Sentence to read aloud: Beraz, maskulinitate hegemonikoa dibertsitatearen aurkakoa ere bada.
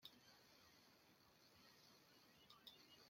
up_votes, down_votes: 0, 2